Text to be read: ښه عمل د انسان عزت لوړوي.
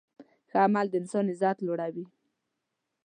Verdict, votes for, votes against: accepted, 2, 0